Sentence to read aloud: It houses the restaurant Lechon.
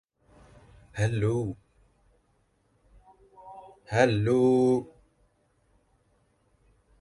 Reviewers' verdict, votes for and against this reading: rejected, 0, 2